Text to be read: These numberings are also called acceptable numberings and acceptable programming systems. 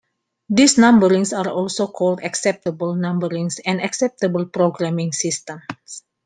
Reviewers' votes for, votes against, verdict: 2, 1, accepted